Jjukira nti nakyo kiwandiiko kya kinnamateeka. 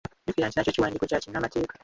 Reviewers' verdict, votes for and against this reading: rejected, 0, 2